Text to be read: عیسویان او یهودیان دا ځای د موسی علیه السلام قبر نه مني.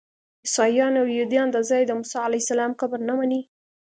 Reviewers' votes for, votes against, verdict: 2, 0, accepted